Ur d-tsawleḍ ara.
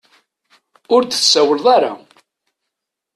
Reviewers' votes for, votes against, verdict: 2, 0, accepted